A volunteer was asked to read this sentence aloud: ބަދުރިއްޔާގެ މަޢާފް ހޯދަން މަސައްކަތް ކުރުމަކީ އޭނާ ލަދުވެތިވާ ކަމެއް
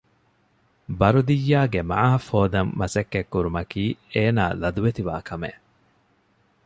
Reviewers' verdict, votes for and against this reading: rejected, 1, 2